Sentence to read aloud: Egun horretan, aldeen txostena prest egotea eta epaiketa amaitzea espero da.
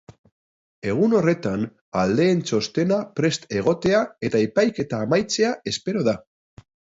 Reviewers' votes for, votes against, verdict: 2, 0, accepted